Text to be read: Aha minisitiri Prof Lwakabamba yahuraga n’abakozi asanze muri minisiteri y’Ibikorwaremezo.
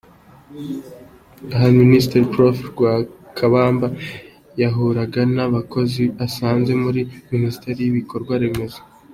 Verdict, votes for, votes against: accepted, 2, 0